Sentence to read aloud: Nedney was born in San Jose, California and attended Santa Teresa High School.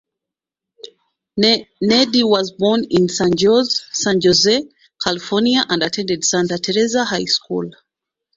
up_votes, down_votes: 0, 2